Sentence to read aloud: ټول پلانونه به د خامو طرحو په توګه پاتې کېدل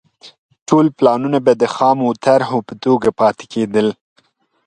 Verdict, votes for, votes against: accepted, 2, 0